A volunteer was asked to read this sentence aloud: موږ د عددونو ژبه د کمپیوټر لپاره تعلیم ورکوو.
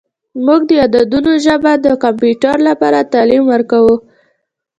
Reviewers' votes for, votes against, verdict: 1, 2, rejected